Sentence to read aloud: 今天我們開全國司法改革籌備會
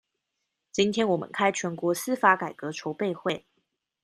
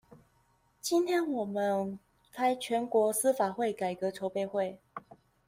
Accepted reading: first